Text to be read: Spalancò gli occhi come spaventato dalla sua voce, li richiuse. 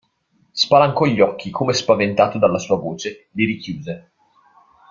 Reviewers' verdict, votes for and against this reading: rejected, 1, 2